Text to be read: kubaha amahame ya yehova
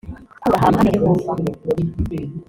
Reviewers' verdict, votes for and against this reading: rejected, 1, 3